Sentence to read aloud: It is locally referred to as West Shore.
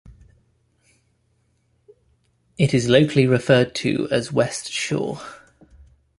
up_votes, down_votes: 2, 0